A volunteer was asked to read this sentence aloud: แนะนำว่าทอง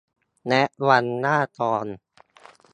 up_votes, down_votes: 1, 2